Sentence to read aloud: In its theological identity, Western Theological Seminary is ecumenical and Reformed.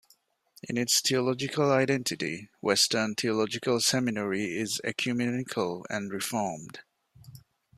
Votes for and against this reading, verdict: 2, 0, accepted